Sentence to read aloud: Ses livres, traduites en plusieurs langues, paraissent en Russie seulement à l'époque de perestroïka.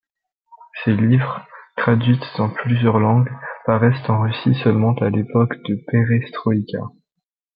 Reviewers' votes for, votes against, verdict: 0, 2, rejected